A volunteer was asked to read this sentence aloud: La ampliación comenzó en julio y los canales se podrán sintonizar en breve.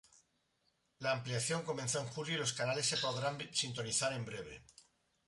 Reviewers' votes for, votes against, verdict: 2, 0, accepted